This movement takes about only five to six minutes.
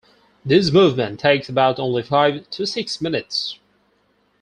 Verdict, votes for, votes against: accepted, 4, 0